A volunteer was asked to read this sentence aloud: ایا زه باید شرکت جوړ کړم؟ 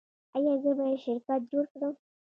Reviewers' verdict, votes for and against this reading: accepted, 2, 0